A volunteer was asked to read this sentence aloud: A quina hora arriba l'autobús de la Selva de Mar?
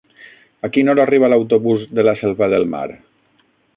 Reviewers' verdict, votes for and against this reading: rejected, 0, 6